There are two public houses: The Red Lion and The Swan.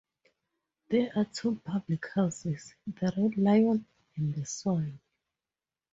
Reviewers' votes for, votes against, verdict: 8, 2, accepted